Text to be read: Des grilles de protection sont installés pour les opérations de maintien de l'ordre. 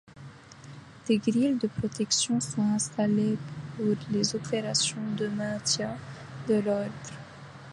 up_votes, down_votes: 1, 2